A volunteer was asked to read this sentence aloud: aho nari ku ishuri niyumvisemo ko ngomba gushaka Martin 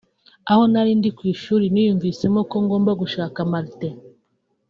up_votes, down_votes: 1, 2